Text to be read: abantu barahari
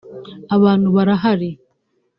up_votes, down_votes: 2, 0